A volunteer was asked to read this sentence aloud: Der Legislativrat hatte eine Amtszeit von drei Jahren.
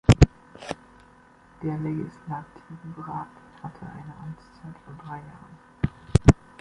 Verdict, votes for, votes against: rejected, 0, 2